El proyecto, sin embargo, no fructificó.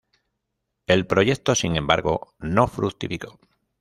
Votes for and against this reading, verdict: 2, 0, accepted